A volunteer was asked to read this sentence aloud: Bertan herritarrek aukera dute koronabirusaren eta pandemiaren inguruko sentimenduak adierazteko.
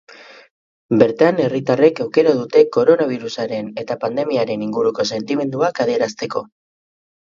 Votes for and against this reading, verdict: 8, 0, accepted